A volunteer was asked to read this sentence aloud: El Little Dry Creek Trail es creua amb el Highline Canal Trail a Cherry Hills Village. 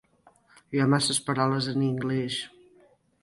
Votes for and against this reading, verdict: 1, 2, rejected